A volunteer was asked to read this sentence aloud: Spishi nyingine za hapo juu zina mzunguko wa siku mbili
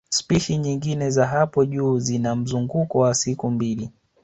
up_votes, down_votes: 1, 2